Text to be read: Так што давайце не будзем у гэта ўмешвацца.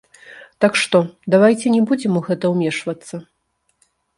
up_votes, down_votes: 0, 2